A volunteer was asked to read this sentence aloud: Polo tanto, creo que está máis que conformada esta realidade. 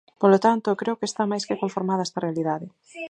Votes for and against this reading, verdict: 0, 4, rejected